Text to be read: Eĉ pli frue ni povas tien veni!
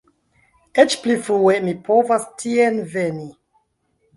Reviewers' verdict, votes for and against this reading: rejected, 1, 2